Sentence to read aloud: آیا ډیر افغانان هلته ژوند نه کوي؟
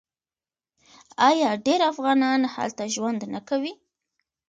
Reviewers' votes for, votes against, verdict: 2, 1, accepted